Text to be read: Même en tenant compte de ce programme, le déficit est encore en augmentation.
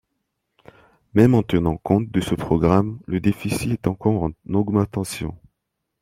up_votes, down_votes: 0, 2